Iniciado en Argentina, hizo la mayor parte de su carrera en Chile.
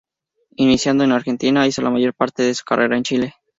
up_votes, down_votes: 4, 2